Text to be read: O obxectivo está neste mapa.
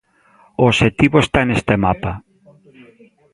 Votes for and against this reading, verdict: 2, 1, accepted